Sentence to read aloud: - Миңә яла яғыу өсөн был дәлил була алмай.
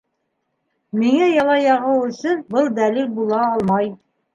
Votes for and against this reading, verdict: 3, 0, accepted